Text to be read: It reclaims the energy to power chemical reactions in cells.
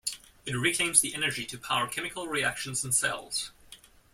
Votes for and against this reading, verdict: 1, 2, rejected